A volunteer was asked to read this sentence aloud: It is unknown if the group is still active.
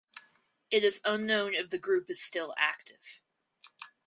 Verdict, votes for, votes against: accepted, 4, 0